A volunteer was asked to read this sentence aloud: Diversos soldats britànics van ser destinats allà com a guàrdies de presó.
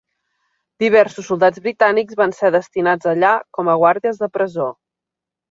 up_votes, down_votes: 3, 0